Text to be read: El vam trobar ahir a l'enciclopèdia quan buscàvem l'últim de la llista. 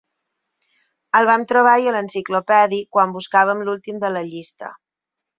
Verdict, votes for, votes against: rejected, 3, 6